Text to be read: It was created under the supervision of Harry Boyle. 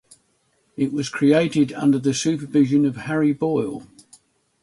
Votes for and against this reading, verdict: 6, 0, accepted